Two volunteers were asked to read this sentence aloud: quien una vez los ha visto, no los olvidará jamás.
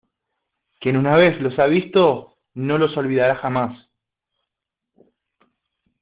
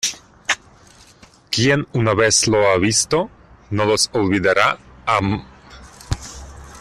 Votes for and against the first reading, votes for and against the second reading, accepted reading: 2, 1, 0, 2, first